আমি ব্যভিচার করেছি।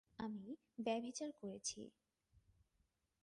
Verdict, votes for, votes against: accepted, 6, 4